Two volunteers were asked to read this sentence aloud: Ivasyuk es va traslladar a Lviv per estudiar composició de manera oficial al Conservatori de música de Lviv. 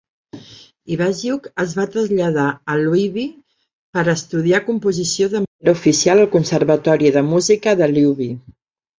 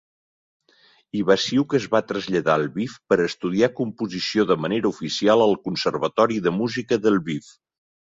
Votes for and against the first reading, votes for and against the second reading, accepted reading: 0, 2, 2, 0, second